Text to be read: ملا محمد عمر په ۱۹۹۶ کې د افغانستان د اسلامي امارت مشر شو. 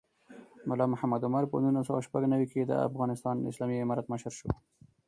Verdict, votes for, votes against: rejected, 0, 2